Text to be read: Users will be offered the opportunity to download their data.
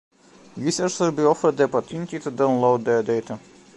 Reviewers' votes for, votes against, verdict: 1, 2, rejected